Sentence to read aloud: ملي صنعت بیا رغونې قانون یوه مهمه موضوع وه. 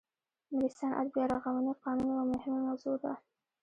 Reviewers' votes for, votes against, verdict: 1, 2, rejected